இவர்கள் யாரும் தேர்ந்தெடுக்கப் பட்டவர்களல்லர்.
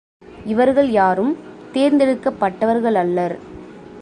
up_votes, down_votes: 2, 0